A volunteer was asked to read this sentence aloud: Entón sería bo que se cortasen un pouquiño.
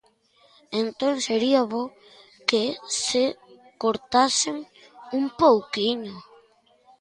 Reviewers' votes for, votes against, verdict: 3, 0, accepted